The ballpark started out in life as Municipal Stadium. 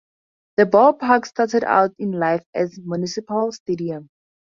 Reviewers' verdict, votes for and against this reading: accepted, 2, 0